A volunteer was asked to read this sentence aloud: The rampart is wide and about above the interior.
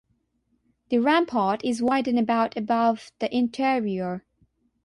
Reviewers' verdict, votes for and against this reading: accepted, 6, 0